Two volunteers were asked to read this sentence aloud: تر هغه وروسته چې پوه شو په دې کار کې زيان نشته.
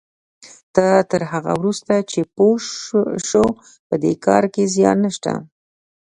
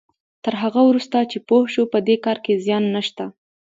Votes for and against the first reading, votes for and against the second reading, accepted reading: 0, 2, 2, 0, second